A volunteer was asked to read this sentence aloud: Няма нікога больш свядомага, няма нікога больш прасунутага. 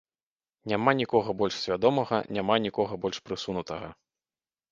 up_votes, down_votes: 1, 2